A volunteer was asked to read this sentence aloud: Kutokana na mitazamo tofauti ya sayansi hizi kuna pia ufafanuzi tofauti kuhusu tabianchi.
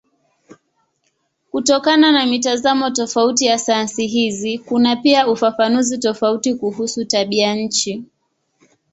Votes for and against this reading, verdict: 6, 4, accepted